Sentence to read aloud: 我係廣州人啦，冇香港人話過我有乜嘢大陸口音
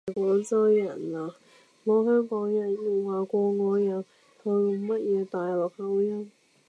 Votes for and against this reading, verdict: 0, 2, rejected